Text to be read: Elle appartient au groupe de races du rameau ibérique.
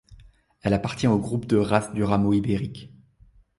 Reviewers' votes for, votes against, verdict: 2, 0, accepted